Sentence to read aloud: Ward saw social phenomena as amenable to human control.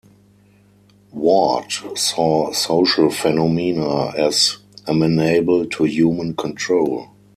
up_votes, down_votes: 2, 4